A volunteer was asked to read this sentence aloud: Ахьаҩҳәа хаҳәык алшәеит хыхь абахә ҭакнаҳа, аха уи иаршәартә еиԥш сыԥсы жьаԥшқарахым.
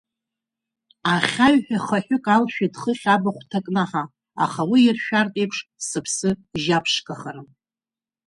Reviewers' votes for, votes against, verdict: 2, 0, accepted